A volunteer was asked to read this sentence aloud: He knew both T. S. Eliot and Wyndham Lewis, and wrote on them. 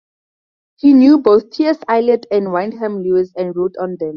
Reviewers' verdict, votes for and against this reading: rejected, 2, 2